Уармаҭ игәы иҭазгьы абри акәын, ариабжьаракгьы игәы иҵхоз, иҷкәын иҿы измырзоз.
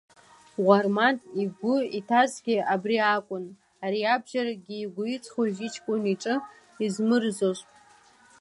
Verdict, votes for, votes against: rejected, 1, 2